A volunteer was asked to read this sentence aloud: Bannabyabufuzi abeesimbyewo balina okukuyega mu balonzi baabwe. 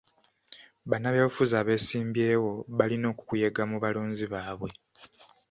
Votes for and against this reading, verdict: 2, 0, accepted